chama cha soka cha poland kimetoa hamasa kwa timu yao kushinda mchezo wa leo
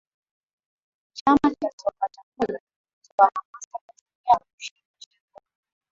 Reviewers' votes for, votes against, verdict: 0, 2, rejected